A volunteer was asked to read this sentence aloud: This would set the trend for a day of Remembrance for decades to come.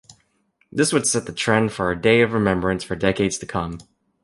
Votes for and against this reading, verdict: 2, 0, accepted